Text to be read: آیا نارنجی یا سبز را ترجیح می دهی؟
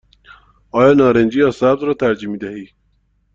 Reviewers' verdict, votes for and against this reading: accepted, 2, 0